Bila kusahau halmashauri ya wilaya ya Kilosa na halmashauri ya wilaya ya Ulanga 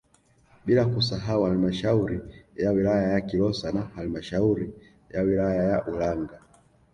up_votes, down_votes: 2, 0